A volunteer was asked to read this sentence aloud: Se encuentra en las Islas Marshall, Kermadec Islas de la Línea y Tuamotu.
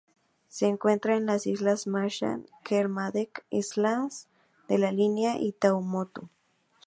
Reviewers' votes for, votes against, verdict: 2, 2, rejected